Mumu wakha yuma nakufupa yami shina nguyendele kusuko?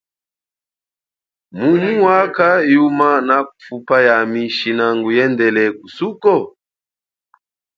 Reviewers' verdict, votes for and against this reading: accepted, 2, 1